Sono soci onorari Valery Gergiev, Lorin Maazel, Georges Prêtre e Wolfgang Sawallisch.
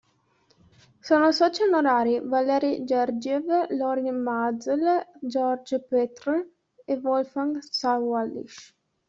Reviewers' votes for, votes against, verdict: 0, 2, rejected